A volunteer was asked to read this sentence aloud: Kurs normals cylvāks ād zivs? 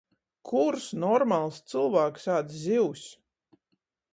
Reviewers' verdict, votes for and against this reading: accepted, 14, 0